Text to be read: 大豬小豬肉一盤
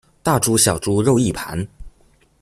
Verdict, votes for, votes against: accepted, 2, 0